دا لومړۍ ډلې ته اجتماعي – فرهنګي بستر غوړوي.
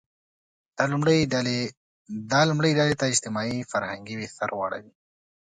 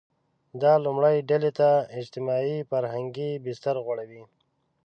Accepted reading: second